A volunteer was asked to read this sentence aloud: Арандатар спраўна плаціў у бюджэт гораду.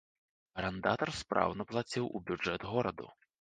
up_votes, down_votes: 2, 0